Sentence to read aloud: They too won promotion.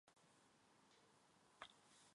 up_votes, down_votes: 0, 2